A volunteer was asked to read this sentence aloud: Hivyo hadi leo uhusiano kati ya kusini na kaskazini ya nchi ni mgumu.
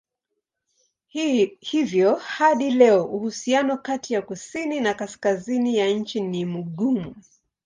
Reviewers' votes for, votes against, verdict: 1, 2, rejected